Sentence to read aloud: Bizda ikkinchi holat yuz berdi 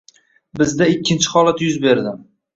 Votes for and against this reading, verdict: 1, 2, rejected